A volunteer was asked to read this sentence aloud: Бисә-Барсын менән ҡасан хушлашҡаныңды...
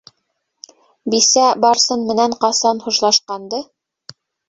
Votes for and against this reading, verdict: 0, 2, rejected